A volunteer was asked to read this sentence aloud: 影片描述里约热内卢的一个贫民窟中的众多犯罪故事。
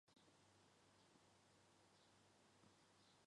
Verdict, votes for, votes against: rejected, 0, 4